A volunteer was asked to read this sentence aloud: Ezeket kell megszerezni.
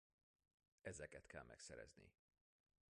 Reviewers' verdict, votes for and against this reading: rejected, 1, 2